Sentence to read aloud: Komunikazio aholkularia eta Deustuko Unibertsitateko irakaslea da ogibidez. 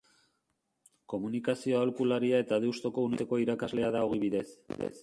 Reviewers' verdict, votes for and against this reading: rejected, 0, 3